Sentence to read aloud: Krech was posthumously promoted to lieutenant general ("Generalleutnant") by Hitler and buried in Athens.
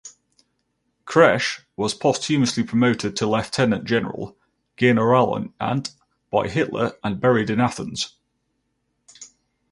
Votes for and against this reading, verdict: 2, 2, rejected